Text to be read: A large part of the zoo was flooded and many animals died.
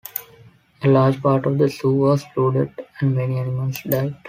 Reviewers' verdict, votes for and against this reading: accepted, 2, 0